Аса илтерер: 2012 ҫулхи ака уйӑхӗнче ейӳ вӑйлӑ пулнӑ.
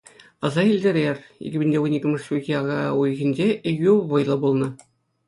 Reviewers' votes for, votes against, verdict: 0, 2, rejected